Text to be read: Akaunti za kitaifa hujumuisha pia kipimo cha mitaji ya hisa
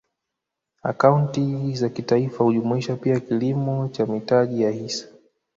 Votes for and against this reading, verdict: 2, 1, accepted